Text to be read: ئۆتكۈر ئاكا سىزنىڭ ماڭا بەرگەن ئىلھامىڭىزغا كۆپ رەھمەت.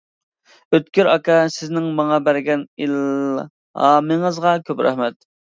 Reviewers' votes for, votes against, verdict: 2, 0, accepted